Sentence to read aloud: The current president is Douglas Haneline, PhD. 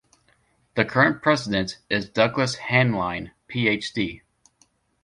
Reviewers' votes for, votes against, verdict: 2, 0, accepted